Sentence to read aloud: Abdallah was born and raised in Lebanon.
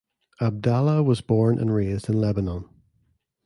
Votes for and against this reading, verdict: 2, 0, accepted